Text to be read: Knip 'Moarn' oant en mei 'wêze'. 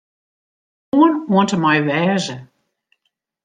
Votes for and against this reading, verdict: 0, 2, rejected